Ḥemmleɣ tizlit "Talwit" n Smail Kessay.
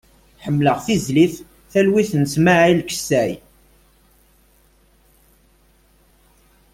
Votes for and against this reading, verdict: 4, 0, accepted